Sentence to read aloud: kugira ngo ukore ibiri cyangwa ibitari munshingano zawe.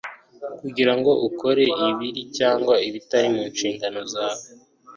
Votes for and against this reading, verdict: 2, 0, accepted